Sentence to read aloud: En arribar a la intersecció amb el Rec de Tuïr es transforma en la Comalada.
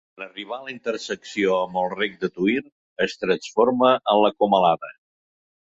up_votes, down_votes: 1, 2